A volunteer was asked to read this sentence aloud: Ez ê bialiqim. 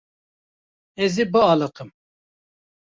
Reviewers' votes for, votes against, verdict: 2, 0, accepted